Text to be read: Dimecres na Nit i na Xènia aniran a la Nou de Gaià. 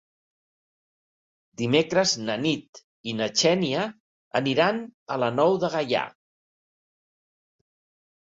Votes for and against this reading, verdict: 4, 0, accepted